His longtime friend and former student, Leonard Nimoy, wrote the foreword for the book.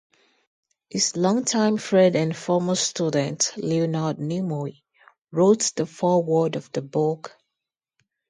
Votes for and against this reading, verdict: 2, 0, accepted